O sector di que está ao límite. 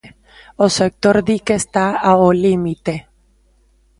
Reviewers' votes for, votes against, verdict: 2, 0, accepted